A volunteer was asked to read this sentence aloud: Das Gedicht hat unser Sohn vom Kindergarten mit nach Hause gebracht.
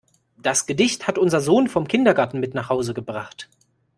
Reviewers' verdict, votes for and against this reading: accepted, 2, 0